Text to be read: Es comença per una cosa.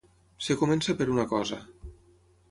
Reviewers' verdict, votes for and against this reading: rejected, 0, 6